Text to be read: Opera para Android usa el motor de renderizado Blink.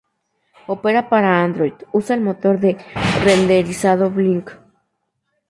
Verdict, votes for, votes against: rejected, 2, 2